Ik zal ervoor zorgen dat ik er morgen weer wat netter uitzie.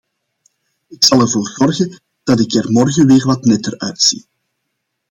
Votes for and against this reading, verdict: 2, 0, accepted